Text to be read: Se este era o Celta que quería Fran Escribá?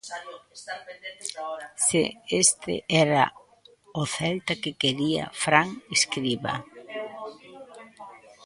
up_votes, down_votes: 0, 2